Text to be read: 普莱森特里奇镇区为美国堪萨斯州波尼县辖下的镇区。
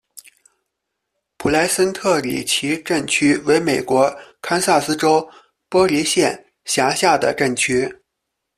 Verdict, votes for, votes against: rejected, 1, 2